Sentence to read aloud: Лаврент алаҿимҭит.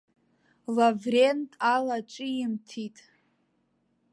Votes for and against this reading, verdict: 2, 0, accepted